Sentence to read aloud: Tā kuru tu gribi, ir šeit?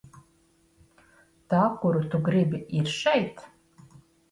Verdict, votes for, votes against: accepted, 2, 0